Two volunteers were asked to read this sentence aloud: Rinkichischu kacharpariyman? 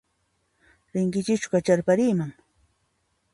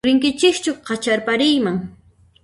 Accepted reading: first